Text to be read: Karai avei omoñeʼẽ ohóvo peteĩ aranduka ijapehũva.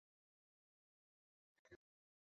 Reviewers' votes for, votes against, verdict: 0, 2, rejected